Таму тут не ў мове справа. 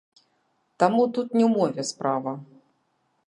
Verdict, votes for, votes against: rejected, 0, 3